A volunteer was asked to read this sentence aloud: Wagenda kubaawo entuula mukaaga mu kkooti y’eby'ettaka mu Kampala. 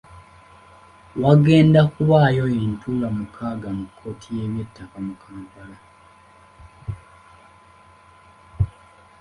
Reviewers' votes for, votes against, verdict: 2, 1, accepted